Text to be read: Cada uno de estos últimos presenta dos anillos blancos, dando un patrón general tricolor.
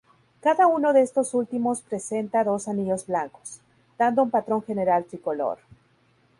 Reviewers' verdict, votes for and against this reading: rejected, 2, 2